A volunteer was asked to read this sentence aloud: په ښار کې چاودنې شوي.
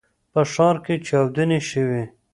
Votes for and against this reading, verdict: 2, 0, accepted